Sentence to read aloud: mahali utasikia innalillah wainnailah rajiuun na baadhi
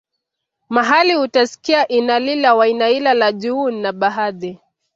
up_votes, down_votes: 2, 0